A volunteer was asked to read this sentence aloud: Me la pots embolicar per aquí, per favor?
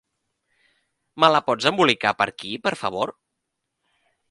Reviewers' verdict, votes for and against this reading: rejected, 0, 2